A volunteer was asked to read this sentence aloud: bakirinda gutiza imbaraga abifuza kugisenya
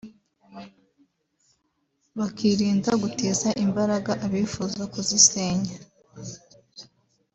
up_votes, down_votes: 2, 3